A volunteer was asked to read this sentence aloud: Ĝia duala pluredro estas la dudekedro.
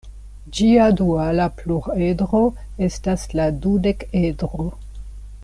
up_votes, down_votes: 2, 1